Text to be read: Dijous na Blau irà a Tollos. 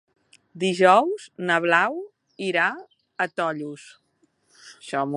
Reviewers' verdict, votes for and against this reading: rejected, 1, 2